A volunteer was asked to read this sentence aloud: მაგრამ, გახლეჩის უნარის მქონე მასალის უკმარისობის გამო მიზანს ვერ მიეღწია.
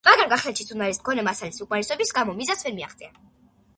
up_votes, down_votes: 1, 2